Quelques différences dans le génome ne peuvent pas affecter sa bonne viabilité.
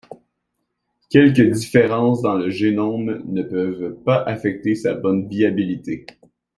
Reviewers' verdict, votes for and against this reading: accepted, 2, 0